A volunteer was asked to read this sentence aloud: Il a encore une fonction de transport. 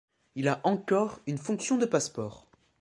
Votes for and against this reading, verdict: 1, 2, rejected